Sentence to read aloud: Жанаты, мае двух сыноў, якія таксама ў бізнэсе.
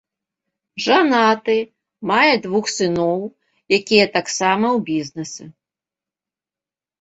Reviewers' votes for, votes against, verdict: 2, 0, accepted